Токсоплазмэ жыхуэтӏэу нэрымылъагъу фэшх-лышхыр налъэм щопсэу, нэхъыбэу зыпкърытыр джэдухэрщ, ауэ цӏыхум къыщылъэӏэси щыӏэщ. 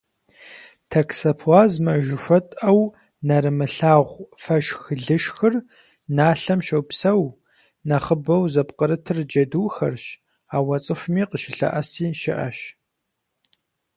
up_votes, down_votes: 6, 0